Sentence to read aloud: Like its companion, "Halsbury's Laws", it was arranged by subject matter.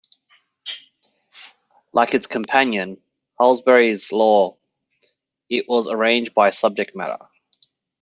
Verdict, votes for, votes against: rejected, 1, 2